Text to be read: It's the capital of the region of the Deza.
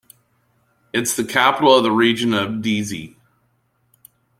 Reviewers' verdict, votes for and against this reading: rejected, 0, 2